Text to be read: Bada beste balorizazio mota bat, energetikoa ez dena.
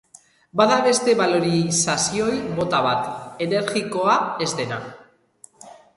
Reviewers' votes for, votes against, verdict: 0, 3, rejected